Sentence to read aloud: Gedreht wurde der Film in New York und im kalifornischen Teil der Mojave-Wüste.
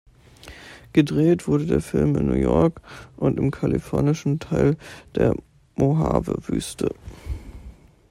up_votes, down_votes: 2, 0